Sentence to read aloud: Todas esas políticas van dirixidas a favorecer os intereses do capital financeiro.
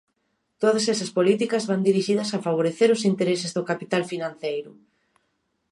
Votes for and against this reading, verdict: 2, 0, accepted